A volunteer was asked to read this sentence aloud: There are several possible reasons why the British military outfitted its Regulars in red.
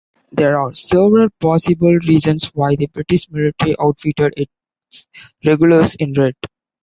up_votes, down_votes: 2, 0